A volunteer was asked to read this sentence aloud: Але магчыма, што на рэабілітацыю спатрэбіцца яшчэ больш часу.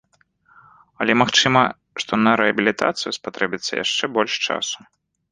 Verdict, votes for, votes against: accepted, 2, 0